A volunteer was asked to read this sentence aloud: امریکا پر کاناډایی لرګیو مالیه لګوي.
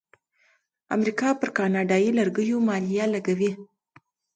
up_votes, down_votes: 2, 0